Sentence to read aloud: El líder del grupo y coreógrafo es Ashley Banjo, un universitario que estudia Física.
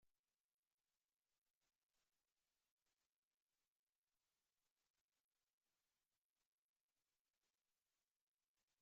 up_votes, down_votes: 0, 2